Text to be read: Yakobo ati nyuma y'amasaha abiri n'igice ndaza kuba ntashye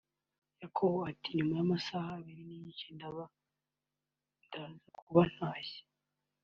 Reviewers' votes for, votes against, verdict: 2, 0, accepted